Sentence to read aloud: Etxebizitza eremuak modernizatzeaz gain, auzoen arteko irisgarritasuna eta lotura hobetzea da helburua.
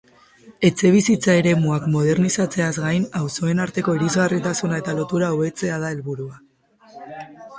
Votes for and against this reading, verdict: 0, 4, rejected